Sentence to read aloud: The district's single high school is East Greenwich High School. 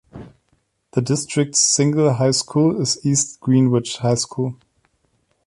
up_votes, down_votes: 2, 0